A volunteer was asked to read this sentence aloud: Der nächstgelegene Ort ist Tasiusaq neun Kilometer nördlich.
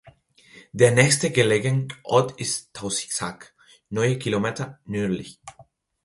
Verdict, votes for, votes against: rejected, 0, 2